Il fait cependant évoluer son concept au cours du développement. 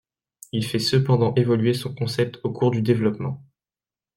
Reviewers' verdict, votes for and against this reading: accepted, 2, 0